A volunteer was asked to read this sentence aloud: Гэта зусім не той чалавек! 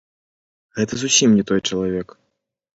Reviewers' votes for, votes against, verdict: 0, 3, rejected